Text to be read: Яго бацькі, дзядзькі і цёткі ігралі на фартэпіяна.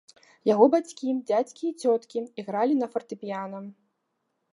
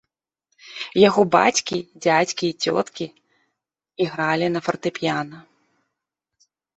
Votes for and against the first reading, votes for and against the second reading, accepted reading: 2, 0, 1, 2, first